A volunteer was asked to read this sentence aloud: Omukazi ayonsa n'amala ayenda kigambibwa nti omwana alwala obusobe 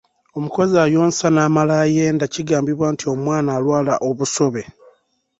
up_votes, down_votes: 1, 2